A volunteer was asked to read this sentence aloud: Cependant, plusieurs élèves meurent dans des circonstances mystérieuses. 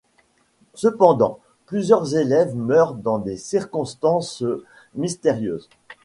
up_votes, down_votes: 2, 0